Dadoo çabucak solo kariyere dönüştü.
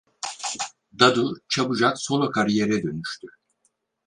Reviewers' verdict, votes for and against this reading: rejected, 2, 4